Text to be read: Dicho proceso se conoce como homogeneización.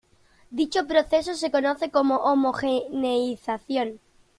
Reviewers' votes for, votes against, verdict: 1, 2, rejected